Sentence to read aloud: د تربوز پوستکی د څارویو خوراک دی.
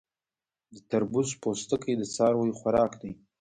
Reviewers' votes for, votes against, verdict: 1, 3, rejected